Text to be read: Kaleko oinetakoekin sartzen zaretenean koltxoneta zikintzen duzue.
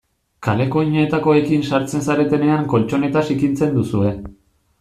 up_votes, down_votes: 2, 0